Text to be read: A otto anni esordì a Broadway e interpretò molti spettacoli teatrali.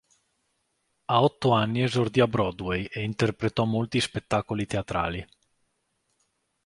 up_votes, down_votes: 2, 0